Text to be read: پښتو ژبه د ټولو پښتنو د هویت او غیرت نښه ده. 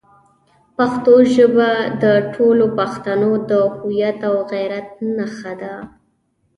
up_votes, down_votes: 1, 2